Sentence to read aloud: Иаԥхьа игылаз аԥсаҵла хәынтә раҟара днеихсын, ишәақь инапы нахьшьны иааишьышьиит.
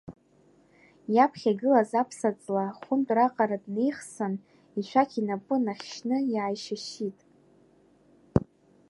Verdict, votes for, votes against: accepted, 2, 0